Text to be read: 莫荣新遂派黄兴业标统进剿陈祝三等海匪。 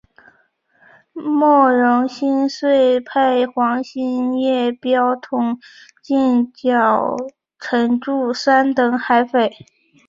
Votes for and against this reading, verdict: 2, 0, accepted